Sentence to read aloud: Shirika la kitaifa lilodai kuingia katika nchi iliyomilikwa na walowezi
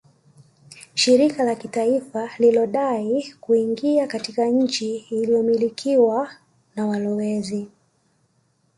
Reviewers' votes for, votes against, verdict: 2, 0, accepted